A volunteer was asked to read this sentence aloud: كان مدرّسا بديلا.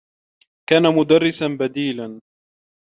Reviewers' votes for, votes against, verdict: 2, 0, accepted